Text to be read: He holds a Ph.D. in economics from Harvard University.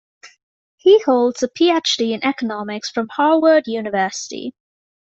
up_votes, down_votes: 2, 0